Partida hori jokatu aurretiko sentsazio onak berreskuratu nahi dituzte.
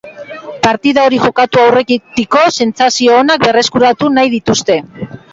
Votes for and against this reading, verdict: 1, 2, rejected